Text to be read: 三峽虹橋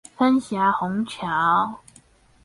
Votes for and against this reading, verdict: 2, 2, rejected